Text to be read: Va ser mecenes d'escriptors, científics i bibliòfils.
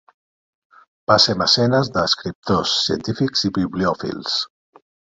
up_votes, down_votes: 4, 0